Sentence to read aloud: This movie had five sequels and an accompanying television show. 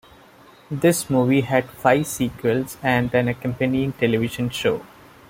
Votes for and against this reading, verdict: 2, 0, accepted